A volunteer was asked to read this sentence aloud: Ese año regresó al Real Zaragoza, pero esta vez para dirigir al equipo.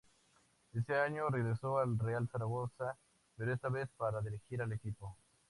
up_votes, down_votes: 4, 0